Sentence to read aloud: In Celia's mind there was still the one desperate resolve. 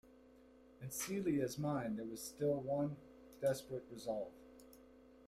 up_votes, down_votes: 1, 2